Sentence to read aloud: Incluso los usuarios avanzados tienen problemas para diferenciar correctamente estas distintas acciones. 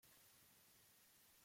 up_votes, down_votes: 0, 2